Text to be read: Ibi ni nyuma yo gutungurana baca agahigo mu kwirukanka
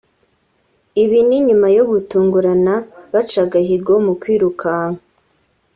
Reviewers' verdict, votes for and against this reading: accepted, 2, 0